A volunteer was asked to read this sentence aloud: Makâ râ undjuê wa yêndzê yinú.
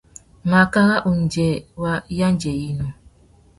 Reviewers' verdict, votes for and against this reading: rejected, 1, 2